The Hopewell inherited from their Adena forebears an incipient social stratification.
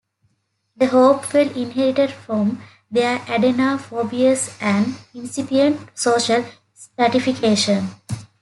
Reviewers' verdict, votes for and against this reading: accepted, 2, 0